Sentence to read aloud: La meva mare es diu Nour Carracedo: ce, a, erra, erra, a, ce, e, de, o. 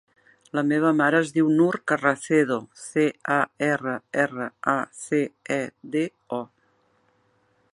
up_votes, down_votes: 3, 2